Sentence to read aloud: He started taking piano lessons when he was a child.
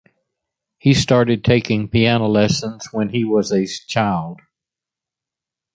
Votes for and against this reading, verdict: 2, 0, accepted